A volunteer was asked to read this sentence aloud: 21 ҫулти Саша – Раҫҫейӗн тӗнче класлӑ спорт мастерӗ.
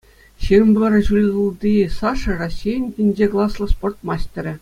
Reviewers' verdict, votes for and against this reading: rejected, 0, 2